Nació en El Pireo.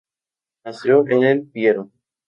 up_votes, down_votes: 2, 0